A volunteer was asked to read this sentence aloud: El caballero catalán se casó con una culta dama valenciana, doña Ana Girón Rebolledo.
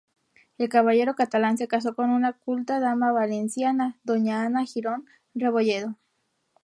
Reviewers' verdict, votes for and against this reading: rejected, 0, 2